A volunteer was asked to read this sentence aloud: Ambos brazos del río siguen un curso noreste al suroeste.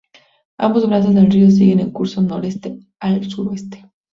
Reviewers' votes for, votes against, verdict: 2, 2, rejected